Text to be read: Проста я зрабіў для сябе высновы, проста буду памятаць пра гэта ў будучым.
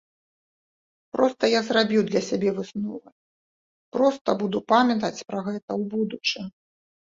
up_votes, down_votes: 0, 2